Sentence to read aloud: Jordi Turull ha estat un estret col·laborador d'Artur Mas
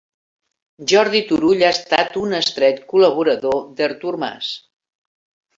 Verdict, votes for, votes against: accepted, 6, 0